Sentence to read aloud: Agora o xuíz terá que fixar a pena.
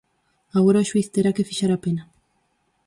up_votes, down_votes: 4, 0